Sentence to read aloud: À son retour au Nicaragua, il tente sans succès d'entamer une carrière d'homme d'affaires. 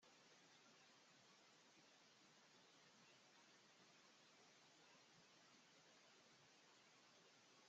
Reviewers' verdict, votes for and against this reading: rejected, 0, 2